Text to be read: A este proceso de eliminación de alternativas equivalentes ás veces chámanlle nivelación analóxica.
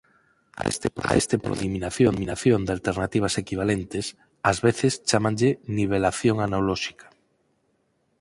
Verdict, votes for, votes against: rejected, 2, 4